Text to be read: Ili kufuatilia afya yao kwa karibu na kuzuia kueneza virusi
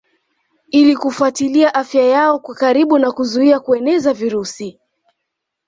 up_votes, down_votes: 2, 0